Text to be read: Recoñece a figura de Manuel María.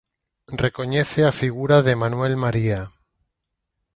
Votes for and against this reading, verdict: 2, 4, rejected